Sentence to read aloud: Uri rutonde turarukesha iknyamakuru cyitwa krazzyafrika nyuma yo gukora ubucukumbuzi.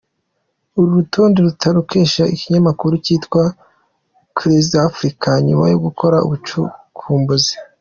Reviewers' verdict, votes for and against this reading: rejected, 1, 2